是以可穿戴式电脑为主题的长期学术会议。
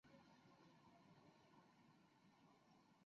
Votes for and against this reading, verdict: 1, 3, rejected